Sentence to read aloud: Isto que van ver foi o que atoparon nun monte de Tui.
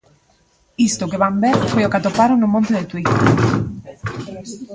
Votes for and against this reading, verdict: 1, 2, rejected